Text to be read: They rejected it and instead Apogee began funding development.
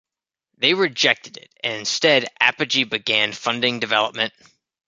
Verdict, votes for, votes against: accepted, 2, 0